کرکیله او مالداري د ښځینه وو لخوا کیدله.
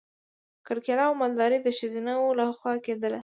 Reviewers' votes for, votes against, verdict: 2, 0, accepted